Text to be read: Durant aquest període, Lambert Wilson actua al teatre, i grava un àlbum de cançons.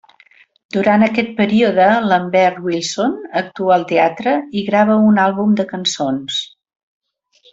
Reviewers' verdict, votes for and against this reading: accepted, 3, 0